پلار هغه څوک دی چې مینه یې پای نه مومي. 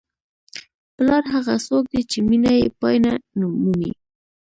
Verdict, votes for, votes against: accepted, 2, 0